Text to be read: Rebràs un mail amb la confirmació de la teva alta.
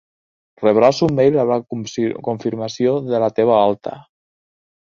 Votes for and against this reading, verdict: 1, 2, rejected